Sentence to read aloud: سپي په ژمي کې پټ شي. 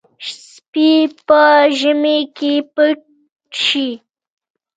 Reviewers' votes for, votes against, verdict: 2, 0, accepted